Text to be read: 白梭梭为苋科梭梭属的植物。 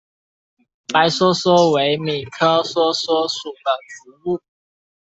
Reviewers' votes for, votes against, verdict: 0, 2, rejected